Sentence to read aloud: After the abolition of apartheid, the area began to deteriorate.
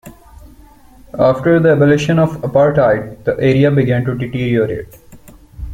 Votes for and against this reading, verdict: 1, 2, rejected